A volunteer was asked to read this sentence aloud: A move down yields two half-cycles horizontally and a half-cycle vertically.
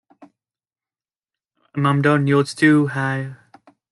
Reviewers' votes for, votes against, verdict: 1, 2, rejected